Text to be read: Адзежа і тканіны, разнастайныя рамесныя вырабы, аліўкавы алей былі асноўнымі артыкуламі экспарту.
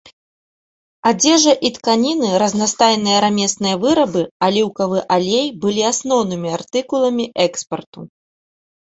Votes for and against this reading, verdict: 2, 0, accepted